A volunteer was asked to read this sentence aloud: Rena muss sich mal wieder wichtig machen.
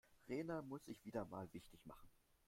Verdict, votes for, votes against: rejected, 1, 2